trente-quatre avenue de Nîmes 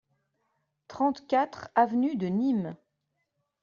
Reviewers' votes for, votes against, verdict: 2, 0, accepted